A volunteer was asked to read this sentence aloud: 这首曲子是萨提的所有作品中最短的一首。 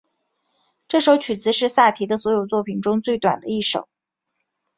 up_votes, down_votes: 3, 1